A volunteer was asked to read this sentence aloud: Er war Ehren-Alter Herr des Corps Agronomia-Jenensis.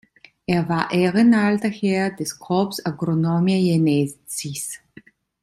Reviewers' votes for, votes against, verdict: 2, 0, accepted